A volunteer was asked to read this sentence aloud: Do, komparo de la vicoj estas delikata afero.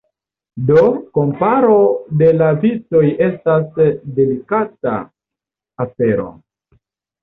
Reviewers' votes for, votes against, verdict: 0, 2, rejected